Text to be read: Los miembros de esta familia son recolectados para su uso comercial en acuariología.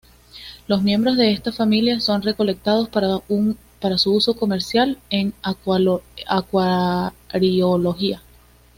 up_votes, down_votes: 1, 2